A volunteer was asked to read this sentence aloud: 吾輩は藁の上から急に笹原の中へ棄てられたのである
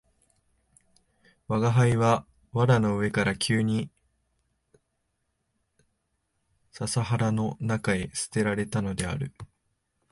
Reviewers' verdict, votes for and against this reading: rejected, 1, 2